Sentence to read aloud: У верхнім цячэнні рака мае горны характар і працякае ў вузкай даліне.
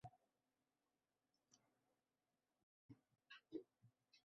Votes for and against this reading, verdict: 1, 2, rejected